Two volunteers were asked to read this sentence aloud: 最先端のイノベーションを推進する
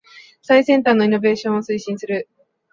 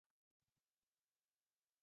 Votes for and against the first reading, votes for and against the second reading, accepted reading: 2, 0, 0, 3, first